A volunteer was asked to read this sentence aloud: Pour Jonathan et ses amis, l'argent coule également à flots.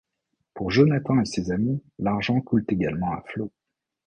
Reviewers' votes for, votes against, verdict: 0, 2, rejected